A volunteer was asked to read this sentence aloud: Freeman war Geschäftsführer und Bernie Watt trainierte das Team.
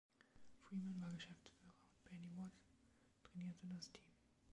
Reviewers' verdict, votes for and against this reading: rejected, 0, 2